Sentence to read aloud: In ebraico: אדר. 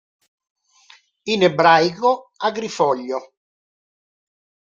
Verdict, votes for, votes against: rejected, 0, 2